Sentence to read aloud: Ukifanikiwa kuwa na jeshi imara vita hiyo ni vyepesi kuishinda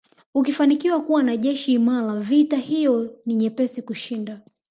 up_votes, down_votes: 3, 0